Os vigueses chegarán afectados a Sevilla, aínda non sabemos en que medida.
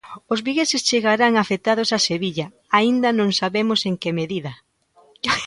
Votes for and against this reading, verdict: 1, 2, rejected